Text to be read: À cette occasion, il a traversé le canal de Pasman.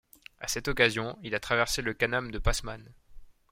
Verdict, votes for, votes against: rejected, 1, 2